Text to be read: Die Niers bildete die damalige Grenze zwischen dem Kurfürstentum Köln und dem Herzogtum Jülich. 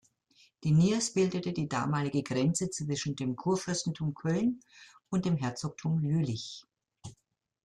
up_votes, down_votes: 2, 0